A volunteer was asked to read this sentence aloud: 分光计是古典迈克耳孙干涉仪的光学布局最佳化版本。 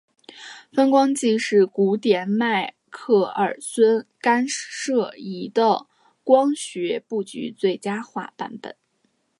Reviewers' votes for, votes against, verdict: 2, 0, accepted